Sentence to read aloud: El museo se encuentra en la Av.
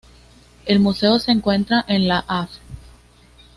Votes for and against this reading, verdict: 2, 0, accepted